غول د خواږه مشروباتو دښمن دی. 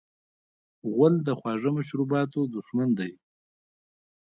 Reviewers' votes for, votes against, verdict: 1, 2, rejected